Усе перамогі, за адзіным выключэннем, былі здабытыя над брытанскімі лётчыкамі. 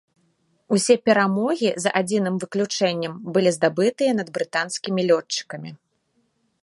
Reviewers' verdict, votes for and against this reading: accepted, 2, 0